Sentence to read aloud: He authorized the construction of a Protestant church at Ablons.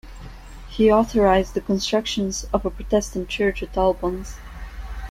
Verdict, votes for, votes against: rejected, 1, 2